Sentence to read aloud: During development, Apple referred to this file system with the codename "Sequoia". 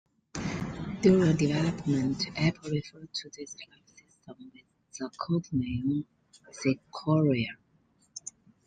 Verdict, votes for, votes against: accepted, 2, 1